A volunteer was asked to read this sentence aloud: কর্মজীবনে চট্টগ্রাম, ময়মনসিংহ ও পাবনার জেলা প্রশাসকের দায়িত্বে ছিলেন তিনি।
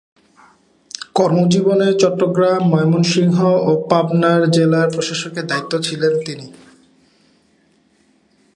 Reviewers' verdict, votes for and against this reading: rejected, 1, 2